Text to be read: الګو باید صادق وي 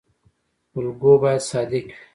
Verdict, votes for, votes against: rejected, 0, 2